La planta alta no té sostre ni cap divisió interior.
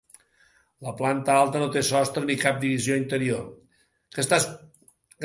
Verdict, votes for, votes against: rejected, 0, 2